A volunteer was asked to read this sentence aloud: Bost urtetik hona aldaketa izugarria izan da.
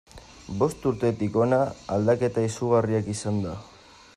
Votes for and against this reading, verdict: 1, 2, rejected